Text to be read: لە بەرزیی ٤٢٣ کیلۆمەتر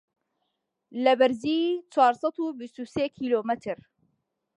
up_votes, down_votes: 0, 2